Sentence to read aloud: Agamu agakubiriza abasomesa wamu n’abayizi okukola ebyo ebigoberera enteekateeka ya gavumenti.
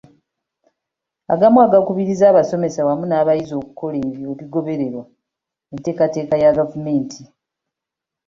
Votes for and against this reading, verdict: 3, 0, accepted